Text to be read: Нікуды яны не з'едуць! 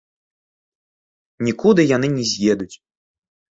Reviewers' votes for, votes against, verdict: 2, 1, accepted